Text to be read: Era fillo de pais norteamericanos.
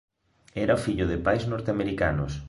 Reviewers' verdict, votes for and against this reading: accepted, 3, 0